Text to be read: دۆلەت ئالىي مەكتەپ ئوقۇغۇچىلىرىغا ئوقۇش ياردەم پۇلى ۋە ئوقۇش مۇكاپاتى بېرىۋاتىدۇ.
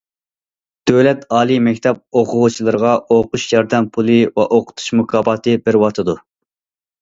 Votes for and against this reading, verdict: 0, 2, rejected